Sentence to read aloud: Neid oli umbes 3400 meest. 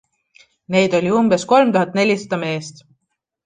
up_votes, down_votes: 0, 2